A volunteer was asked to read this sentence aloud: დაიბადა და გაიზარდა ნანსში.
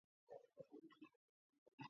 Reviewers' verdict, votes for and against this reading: rejected, 0, 3